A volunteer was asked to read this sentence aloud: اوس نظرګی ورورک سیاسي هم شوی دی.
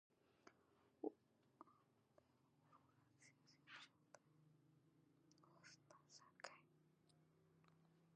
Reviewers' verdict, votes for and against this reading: rejected, 0, 2